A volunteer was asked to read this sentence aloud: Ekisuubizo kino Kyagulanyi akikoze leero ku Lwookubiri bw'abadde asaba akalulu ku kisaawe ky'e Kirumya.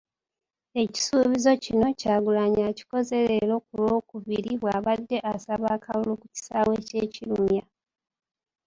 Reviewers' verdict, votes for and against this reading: accepted, 2, 1